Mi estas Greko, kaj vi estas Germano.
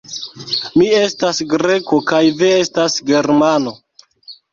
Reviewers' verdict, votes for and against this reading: rejected, 1, 2